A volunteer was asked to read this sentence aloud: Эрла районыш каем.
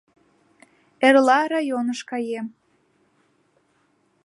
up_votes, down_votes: 2, 0